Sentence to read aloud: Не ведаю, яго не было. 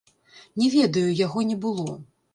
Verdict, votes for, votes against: rejected, 1, 3